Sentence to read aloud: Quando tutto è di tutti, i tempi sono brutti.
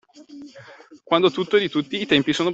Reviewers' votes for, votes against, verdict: 0, 2, rejected